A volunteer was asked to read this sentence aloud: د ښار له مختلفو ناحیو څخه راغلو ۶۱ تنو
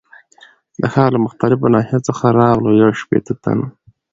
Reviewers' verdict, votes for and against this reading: rejected, 0, 2